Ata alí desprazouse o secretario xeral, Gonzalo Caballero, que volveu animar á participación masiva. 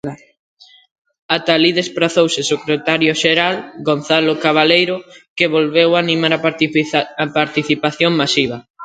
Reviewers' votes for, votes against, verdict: 0, 2, rejected